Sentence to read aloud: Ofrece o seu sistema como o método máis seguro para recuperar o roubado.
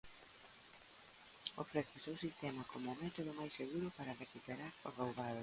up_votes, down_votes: 0, 2